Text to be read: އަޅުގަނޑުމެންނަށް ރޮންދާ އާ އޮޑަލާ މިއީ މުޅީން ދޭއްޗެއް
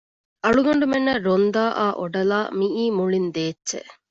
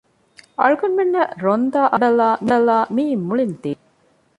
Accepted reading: first